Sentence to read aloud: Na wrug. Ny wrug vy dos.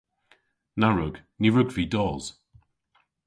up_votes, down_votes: 2, 0